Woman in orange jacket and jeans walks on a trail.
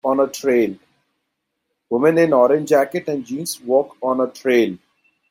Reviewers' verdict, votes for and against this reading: rejected, 2, 3